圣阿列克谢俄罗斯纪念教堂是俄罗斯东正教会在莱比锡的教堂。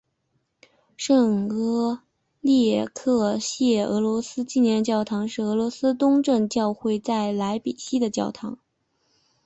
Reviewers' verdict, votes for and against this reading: accepted, 5, 3